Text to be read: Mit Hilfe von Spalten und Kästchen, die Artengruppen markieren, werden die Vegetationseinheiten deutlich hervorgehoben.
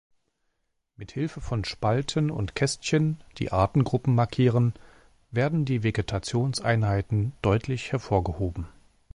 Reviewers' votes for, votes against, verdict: 2, 0, accepted